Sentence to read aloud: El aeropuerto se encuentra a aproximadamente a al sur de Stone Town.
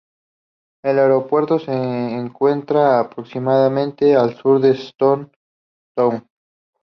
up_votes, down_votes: 2, 0